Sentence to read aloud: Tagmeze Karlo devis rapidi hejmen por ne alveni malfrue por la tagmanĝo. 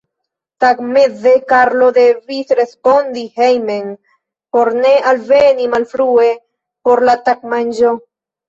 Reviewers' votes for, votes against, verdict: 2, 0, accepted